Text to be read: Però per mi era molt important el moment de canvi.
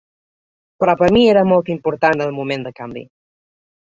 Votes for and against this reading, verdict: 2, 0, accepted